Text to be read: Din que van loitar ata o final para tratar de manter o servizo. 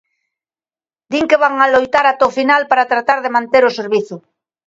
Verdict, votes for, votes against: rejected, 0, 2